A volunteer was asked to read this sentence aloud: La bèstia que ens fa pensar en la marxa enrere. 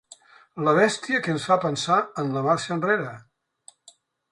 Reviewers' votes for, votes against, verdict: 3, 0, accepted